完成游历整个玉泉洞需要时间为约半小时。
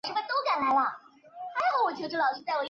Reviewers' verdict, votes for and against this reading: rejected, 0, 2